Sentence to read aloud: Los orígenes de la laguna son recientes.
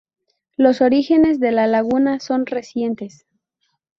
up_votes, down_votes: 0, 2